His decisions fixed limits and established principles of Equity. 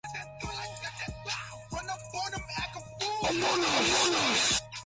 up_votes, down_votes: 1, 2